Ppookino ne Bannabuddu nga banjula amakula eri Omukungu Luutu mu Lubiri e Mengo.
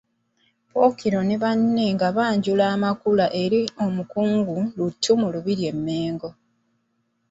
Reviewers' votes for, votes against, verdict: 1, 2, rejected